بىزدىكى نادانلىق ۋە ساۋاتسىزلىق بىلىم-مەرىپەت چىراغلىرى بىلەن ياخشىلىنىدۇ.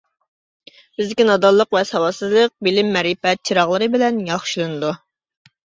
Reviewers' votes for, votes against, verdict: 2, 0, accepted